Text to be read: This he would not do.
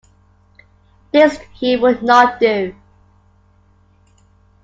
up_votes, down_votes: 2, 0